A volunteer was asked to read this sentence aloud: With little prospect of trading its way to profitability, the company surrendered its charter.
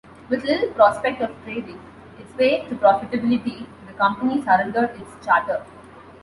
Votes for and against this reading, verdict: 2, 1, accepted